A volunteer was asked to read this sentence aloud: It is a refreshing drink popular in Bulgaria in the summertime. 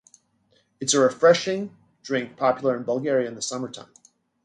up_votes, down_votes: 1, 2